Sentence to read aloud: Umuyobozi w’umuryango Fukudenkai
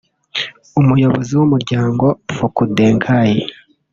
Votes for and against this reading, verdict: 1, 2, rejected